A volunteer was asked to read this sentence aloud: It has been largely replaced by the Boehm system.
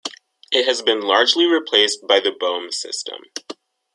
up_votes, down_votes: 1, 2